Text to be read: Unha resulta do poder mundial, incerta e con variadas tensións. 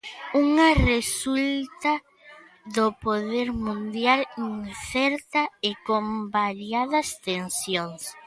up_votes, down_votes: 0, 2